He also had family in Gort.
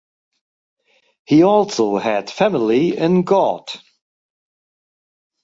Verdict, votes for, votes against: rejected, 2, 2